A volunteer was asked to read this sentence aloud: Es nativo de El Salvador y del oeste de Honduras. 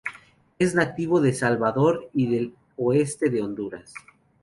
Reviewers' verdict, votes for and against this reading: rejected, 2, 2